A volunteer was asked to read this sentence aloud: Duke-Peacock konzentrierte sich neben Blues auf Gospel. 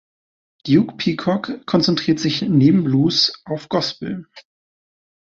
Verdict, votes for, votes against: rejected, 0, 2